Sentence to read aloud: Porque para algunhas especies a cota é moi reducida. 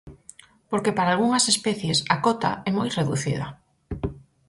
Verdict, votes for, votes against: accepted, 4, 0